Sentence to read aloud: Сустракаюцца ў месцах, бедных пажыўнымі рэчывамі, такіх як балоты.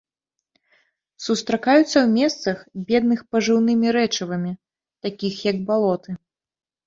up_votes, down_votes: 2, 1